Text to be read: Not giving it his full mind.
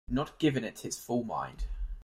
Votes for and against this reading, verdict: 2, 0, accepted